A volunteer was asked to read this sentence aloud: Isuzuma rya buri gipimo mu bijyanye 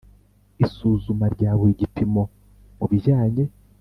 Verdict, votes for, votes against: accepted, 2, 0